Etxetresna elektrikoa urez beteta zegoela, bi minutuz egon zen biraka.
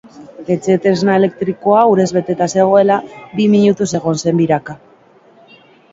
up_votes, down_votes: 2, 0